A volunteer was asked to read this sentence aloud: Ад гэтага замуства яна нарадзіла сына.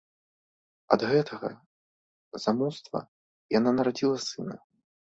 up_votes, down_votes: 2, 0